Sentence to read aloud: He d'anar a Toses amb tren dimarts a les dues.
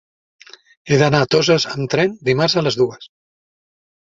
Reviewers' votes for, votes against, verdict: 3, 0, accepted